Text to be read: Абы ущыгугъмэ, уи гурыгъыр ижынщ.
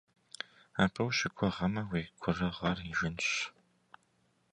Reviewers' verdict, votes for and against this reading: accepted, 3, 0